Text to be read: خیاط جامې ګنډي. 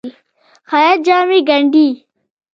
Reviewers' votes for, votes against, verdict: 1, 2, rejected